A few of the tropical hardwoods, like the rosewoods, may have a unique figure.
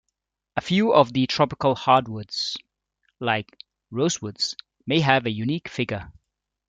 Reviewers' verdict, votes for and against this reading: rejected, 1, 2